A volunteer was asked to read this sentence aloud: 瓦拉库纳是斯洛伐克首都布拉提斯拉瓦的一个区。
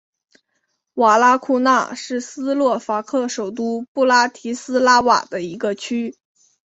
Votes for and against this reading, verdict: 5, 0, accepted